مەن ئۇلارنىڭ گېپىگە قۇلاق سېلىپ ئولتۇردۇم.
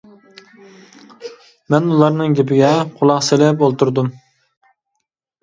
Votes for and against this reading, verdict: 2, 0, accepted